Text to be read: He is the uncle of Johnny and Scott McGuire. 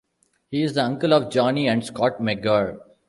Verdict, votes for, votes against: rejected, 1, 2